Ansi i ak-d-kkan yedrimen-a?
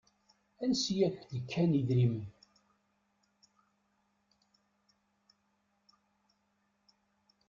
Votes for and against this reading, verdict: 1, 2, rejected